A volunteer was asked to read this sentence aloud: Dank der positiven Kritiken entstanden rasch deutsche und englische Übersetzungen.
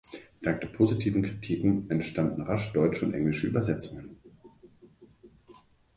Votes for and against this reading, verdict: 2, 0, accepted